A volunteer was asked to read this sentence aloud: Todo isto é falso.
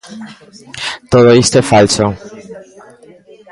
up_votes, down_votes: 2, 0